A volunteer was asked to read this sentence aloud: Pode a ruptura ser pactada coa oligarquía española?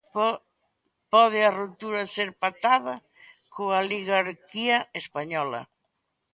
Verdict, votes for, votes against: rejected, 0, 2